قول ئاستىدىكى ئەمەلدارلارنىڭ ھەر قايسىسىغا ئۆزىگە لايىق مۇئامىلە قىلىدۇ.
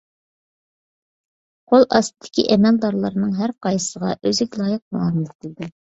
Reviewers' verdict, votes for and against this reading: accepted, 2, 0